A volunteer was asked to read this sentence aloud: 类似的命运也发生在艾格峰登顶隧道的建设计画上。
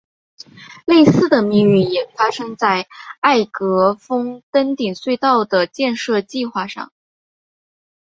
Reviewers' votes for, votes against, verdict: 3, 0, accepted